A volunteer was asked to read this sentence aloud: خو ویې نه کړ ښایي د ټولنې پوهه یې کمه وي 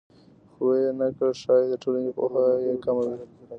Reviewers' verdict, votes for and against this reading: rejected, 1, 2